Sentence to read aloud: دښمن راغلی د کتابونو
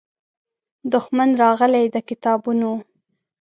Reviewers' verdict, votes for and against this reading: accepted, 2, 0